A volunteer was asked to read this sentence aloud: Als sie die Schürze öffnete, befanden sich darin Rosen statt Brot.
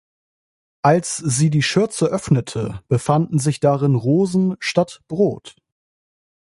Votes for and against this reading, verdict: 2, 0, accepted